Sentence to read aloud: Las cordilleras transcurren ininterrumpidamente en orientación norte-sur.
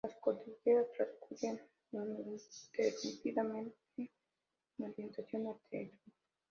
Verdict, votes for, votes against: rejected, 1, 2